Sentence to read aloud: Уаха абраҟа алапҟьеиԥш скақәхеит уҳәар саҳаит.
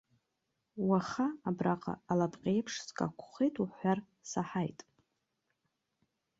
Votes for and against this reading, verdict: 2, 0, accepted